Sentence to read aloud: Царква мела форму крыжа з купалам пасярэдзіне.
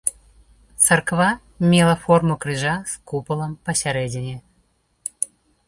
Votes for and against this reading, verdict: 2, 0, accepted